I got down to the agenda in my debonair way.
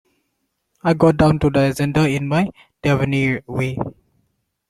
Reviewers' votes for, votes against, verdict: 0, 2, rejected